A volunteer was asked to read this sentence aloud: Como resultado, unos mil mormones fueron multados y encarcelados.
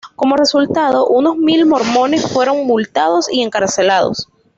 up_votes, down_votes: 2, 0